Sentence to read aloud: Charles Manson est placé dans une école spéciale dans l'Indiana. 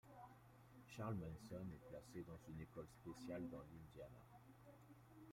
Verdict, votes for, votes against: accepted, 2, 1